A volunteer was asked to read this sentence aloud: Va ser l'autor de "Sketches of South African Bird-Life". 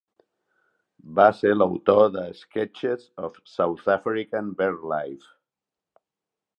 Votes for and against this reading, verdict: 2, 0, accepted